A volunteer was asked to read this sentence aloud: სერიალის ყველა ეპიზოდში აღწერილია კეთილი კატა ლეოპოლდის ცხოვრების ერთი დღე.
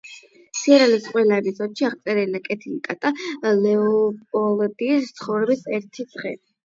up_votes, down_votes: 4, 8